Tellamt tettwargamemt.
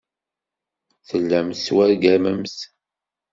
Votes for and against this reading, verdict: 2, 0, accepted